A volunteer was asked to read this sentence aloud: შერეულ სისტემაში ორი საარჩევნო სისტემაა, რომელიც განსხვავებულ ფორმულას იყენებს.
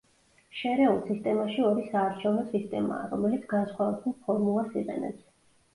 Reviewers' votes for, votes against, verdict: 2, 0, accepted